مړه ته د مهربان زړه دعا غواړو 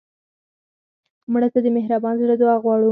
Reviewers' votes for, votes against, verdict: 4, 2, accepted